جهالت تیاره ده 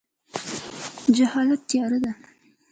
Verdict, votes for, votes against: rejected, 0, 2